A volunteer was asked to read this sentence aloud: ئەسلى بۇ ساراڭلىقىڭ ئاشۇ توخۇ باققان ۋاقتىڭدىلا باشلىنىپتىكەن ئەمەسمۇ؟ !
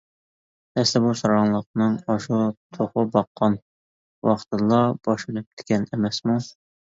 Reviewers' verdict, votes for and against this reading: rejected, 0, 2